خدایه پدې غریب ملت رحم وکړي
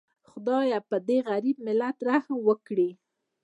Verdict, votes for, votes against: rejected, 0, 2